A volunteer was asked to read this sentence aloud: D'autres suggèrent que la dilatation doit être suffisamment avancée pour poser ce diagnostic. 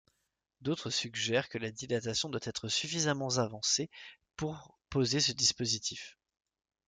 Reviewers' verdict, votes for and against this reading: rejected, 1, 2